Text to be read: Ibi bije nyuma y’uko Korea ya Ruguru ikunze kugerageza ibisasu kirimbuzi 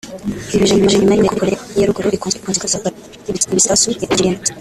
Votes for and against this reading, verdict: 2, 3, rejected